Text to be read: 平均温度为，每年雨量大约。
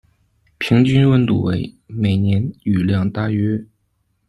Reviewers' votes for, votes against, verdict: 2, 0, accepted